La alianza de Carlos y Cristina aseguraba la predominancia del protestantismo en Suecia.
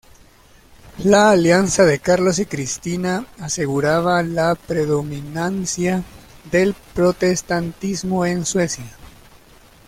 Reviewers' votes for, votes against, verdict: 1, 2, rejected